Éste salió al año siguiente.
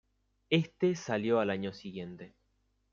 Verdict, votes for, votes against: accepted, 2, 0